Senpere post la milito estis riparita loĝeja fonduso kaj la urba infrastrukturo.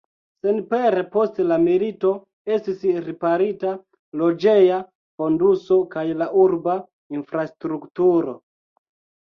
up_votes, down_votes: 0, 2